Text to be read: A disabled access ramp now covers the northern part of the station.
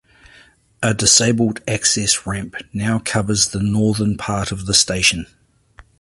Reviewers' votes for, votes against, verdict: 2, 0, accepted